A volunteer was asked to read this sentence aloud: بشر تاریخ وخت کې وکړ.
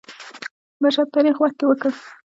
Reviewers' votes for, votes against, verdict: 0, 2, rejected